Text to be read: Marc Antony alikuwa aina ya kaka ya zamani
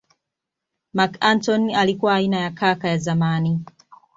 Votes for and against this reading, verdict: 2, 0, accepted